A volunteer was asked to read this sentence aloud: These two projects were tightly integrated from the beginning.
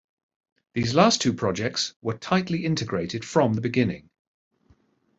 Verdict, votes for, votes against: rejected, 1, 3